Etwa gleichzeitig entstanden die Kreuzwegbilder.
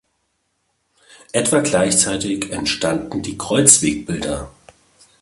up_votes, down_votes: 2, 0